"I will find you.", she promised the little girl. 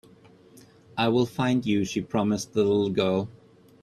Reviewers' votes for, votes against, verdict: 2, 0, accepted